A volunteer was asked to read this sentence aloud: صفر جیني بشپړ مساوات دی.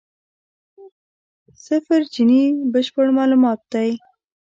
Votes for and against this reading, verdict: 0, 2, rejected